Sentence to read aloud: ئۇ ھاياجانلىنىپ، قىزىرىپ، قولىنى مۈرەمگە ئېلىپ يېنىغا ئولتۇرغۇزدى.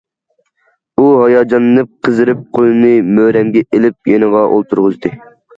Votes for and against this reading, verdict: 2, 0, accepted